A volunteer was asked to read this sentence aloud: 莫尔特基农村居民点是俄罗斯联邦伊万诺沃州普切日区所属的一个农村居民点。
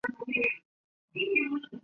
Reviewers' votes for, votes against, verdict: 2, 3, rejected